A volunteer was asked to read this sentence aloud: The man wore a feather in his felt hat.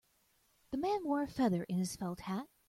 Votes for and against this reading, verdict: 2, 0, accepted